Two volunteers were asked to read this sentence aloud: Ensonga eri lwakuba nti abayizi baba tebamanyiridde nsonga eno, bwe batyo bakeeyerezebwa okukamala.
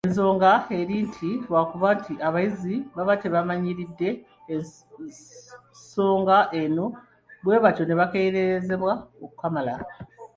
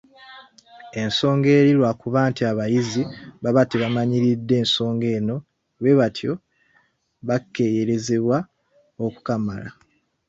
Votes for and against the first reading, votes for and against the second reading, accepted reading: 2, 0, 1, 2, first